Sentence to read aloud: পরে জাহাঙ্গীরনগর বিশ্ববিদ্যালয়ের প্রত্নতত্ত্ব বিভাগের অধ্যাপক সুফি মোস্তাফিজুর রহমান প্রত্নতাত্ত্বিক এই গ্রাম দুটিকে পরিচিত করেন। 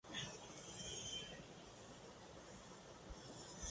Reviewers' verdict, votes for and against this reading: rejected, 0, 13